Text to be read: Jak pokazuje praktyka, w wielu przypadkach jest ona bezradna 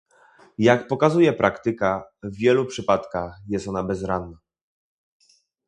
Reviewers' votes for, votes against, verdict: 2, 0, accepted